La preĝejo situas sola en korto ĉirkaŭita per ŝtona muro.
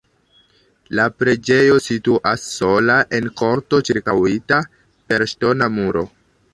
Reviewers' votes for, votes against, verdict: 2, 1, accepted